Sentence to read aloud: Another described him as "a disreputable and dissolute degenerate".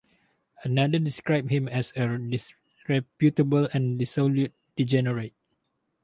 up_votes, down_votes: 2, 2